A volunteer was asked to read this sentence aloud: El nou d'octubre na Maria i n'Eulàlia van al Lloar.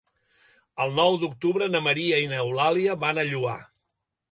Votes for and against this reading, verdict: 1, 2, rejected